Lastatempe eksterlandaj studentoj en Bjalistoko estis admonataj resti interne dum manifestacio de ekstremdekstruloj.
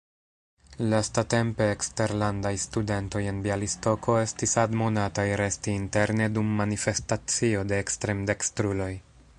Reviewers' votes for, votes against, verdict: 2, 0, accepted